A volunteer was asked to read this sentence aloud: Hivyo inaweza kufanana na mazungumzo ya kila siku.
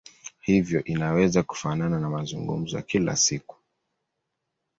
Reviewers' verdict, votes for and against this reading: accepted, 11, 0